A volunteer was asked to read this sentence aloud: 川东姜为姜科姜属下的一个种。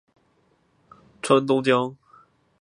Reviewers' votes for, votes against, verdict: 0, 4, rejected